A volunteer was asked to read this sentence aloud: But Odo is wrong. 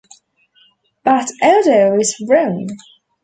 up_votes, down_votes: 2, 3